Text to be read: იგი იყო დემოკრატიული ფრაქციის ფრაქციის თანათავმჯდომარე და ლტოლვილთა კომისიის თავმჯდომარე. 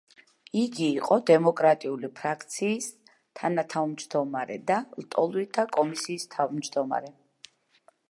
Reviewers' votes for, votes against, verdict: 2, 0, accepted